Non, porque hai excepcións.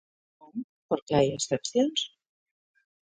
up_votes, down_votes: 1, 2